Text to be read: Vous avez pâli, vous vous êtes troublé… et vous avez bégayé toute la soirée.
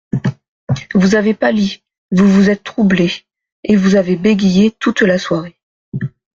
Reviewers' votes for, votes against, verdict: 2, 0, accepted